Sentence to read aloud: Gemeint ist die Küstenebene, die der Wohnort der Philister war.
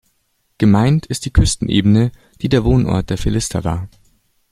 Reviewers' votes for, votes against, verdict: 2, 0, accepted